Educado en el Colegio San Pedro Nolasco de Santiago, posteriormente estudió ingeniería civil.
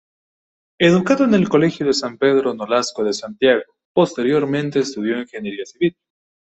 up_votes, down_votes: 0, 2